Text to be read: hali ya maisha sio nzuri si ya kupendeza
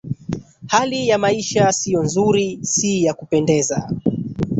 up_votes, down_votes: 1, 2